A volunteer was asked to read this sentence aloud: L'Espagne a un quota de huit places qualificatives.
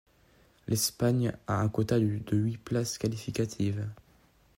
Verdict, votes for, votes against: rejected, 0, 2